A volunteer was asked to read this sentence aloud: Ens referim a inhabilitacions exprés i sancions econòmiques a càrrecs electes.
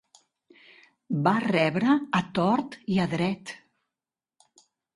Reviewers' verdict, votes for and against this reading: rejected, 0, 2